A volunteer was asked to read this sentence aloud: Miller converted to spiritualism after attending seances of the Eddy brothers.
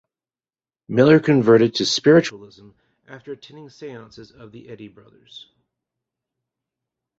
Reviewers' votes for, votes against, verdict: 2, 0, accepted